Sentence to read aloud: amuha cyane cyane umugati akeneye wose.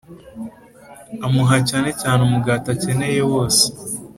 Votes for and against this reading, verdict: 2, 0, accepted